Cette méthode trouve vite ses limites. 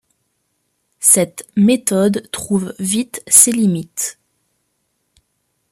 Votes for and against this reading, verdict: 2, 0, accepted